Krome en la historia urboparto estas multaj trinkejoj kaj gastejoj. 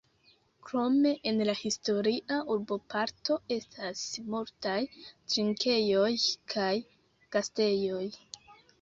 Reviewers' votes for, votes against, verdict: 1, 2, rejected